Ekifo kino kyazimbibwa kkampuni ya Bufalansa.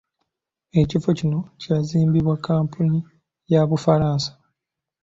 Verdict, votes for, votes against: accepted, 2, 0